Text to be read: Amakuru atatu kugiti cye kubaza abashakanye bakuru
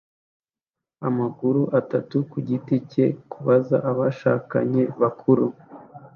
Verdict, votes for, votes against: accepted, 2, 0